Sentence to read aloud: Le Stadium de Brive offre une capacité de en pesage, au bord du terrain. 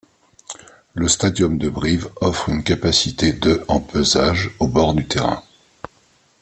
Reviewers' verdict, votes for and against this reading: accepted, 2, 0